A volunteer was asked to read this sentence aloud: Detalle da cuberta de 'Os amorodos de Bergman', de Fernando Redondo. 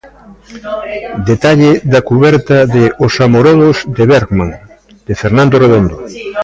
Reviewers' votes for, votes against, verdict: 0, 2, rejected